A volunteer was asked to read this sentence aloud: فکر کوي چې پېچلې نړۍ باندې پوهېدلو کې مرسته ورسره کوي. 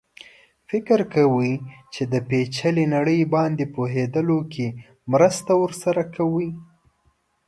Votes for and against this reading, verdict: 0, 2, rejected